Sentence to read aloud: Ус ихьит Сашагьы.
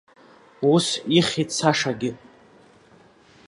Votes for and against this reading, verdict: 1, 2, rejected